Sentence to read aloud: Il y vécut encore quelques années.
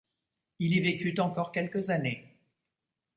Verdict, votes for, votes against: accepted, 3, 0